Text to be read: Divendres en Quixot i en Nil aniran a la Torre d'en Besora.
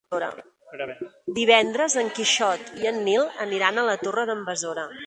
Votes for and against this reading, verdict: 2, 1, accepted